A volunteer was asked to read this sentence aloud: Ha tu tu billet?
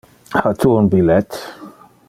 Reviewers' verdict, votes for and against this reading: rejected, 1, 2